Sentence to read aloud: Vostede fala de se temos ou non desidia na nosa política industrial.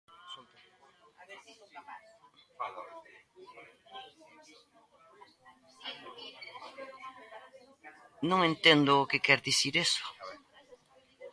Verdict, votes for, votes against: rejected, 0, 2